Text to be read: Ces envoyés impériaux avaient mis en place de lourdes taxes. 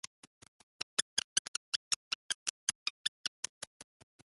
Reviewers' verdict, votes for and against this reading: rejected, 0, 2